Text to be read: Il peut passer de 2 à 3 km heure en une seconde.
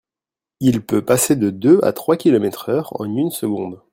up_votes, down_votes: 0, 2